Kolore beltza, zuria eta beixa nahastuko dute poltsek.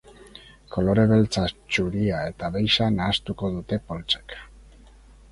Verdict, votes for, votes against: rejected, 0, 4